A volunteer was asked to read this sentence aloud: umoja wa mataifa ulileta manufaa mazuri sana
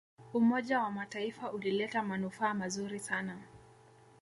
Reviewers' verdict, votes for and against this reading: accepted, 2, 0